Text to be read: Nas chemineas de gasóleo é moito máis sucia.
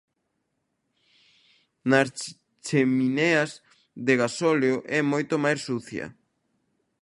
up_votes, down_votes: 0, 2